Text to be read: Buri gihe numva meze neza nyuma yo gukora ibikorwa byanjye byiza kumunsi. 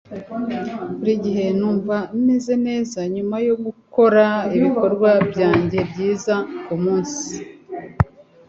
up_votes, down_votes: 2, 1